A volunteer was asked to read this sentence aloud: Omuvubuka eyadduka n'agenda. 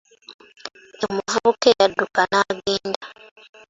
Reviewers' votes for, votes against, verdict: 0, 2, rejected